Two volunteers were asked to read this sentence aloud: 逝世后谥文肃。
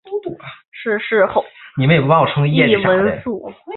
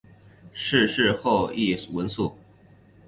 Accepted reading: second